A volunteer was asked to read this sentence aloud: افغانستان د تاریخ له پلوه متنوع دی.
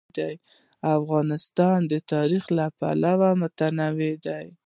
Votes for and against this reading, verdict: 0, 2, rejected